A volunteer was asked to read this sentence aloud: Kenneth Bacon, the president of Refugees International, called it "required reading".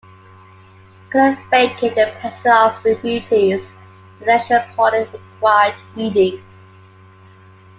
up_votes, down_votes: 0, 2